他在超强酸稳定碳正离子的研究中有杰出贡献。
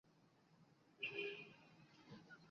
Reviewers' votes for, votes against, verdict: 0, 2, rejected